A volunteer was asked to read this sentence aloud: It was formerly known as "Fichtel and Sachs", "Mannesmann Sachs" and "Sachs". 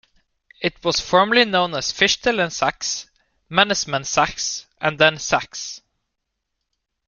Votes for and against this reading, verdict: 0, 2, rejected